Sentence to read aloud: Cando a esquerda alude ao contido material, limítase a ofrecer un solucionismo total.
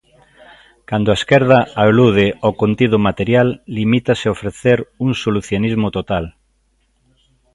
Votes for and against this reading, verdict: 2, 0, accepted